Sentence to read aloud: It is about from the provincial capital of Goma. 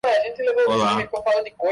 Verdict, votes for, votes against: rejected, 0, 2